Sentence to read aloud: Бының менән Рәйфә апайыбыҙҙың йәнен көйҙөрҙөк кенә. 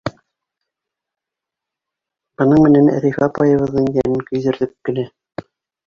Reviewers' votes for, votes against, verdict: 2, 0, accepted